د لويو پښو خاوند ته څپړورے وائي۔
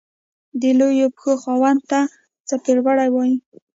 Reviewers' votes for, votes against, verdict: 2, 0, accepted